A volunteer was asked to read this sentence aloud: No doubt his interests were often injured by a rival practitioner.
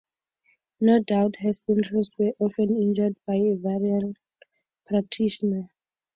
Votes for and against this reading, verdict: 4, 0, accepted